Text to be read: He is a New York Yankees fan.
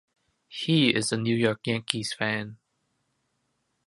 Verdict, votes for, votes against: accepted, 2, 0